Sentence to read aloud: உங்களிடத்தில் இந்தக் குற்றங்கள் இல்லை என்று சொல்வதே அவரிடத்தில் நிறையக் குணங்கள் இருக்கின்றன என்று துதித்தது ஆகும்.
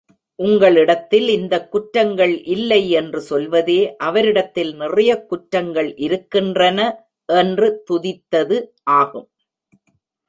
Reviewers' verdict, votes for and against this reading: rejected, 1, 2